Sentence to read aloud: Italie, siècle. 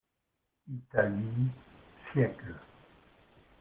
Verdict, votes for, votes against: accepted, 2, 0